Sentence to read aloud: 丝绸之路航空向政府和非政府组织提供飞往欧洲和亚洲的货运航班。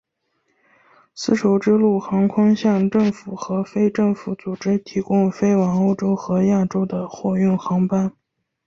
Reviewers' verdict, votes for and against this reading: accepted, 7, 0